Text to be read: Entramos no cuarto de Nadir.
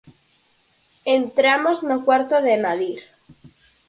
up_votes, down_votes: 4, 0